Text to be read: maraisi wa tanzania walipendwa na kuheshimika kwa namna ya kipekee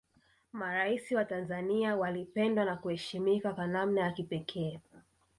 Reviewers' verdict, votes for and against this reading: rejected, 1, 2